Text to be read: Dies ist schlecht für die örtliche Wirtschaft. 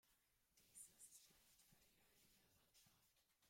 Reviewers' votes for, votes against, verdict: 0, 2, rejected